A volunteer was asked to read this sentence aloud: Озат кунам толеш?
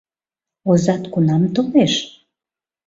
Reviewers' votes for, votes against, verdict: 2, 0, accepted